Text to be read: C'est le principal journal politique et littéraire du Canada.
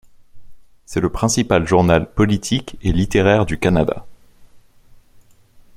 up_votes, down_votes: 2, 0